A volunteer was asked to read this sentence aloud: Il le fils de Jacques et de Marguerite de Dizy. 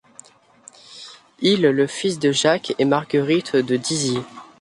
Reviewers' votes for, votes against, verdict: 1, 2, rejected